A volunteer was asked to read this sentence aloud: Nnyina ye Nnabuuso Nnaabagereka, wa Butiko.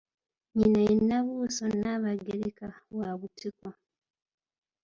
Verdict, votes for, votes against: accepted, 2, 0